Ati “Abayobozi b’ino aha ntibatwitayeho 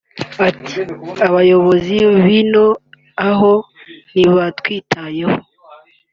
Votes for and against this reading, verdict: 0, 2, rejected